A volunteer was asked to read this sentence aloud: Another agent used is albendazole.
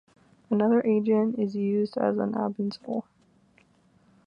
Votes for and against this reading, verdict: 1, 2, rejected